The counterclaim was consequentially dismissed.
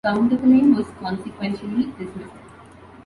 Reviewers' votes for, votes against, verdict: 0, 2, rejected